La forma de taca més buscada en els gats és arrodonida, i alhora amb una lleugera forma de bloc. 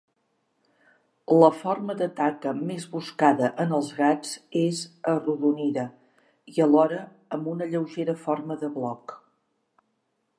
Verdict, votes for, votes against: accepted, 2, 0